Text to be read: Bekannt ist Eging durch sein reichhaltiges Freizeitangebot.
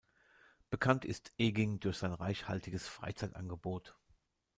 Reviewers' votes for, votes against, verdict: 2, 0, accepted